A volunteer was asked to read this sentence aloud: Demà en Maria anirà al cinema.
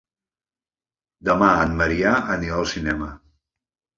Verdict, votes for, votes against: rejected, 1, 2